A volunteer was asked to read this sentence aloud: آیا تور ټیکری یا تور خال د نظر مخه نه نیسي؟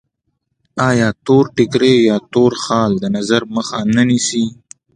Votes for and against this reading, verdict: 2, 1, accepted